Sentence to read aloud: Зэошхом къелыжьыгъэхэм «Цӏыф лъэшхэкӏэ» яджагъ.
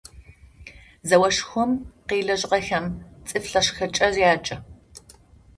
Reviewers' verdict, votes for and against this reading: rejected, 0, 2